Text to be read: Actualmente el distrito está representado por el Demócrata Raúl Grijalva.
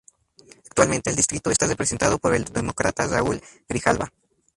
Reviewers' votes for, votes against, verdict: 2, 0, accepted